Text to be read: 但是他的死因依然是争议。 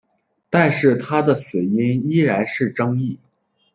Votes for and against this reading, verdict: 3, 0, accepted